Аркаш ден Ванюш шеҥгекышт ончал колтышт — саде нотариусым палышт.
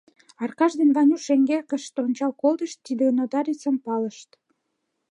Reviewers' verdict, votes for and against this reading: rejected, 1, 2